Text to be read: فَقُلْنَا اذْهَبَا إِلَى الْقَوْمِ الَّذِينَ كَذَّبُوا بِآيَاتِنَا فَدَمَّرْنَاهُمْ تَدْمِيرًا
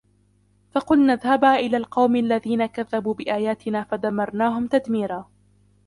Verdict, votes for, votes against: accepted, 2, 1